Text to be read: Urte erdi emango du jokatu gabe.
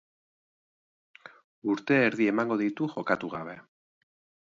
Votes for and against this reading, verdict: 0, 3, rejected